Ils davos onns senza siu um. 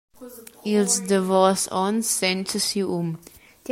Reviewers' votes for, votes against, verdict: 2, 1, accepted